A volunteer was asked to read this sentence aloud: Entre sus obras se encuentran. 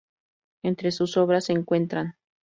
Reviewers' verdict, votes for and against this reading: accepted, 2, 0